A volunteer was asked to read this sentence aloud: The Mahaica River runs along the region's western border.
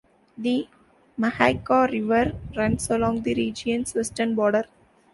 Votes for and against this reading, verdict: 2, 0, accepted